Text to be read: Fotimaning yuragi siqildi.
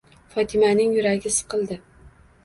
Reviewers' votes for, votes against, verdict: 2, 1, accepted